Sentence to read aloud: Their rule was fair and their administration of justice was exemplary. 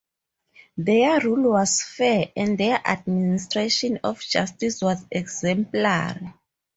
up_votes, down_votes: 2, 2